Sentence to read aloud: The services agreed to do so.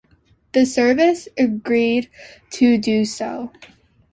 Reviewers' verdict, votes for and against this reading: accepted, 2, 1